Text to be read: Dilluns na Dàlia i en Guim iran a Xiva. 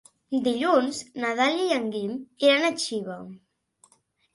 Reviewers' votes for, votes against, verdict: 2, 0, accepted